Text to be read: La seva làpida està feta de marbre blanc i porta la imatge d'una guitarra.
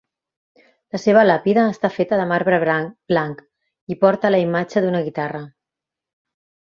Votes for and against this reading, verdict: 0, 2, rejected